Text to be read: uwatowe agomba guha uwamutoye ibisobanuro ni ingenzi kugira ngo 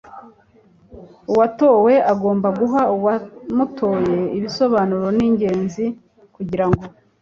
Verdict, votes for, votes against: accepted, 2, 0